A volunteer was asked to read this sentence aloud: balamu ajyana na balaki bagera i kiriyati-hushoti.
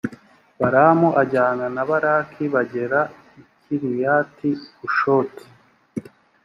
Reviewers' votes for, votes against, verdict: 2, 0, accepted